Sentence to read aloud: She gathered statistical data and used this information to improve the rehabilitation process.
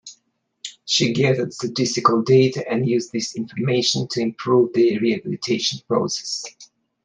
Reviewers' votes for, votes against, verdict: 2, 0, accepted